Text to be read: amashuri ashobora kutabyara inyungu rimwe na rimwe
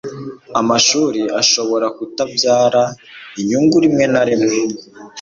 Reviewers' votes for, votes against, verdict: 2, 0, accepted